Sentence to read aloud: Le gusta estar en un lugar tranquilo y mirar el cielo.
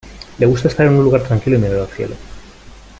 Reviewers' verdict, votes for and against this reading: rejected, 0, 2